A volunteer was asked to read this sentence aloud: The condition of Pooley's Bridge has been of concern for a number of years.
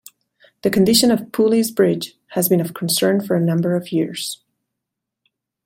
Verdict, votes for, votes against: accepted, 2, 0